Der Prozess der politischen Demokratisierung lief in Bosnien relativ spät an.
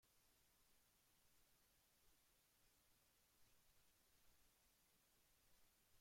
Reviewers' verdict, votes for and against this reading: rejected, 0, 2